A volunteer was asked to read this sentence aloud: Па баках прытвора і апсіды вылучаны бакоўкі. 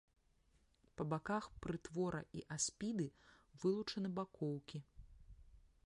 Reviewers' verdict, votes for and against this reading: rejected, 0, 2